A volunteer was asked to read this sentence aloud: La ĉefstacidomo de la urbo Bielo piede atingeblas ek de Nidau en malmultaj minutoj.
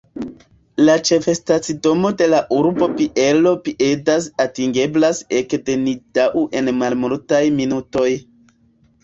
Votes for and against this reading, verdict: 2, 1, accepted